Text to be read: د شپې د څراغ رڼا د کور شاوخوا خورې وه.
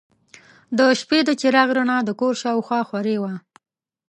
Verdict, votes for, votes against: rejected, 1, 2